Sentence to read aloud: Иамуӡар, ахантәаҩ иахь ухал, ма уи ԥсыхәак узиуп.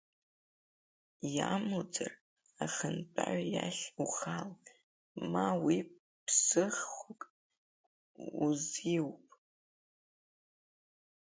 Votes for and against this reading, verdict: 0, 3, rejected